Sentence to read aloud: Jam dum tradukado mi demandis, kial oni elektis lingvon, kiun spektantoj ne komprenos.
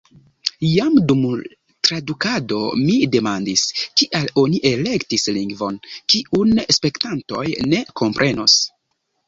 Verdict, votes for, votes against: accepted, 2, 0